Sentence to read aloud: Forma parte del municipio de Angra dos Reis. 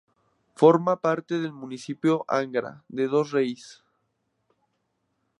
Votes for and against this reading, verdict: 2, 0, accepted